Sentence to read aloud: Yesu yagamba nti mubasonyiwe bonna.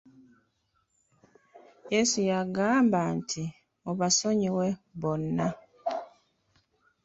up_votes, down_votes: 2, 1